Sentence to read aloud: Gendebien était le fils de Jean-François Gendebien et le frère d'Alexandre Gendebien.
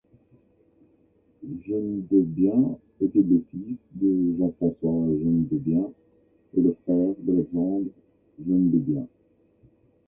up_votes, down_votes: 1, 2